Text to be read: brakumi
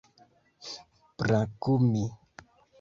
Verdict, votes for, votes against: accepted, 2, 0